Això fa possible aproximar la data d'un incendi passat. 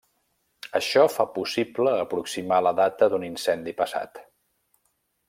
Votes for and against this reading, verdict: 1, 2, rejected